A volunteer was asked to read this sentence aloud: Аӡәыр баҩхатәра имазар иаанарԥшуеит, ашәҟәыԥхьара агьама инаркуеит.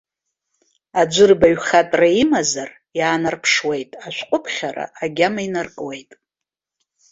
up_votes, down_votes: 2, 0